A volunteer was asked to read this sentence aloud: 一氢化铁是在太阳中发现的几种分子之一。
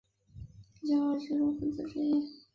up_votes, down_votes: 0, 2